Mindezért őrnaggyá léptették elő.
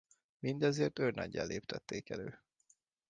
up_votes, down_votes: 2, 0